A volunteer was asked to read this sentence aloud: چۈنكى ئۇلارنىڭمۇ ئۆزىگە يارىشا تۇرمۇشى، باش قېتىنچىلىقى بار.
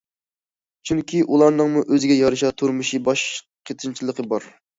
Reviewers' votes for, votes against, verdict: 2, 0, accepted